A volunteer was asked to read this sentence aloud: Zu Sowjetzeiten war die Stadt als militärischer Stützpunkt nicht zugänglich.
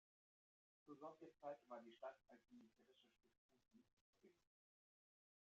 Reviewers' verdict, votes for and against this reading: rejected, 0, 2